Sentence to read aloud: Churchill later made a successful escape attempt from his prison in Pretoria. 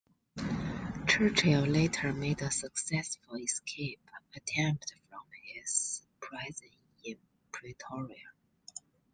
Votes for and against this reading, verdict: 1, 2, rejected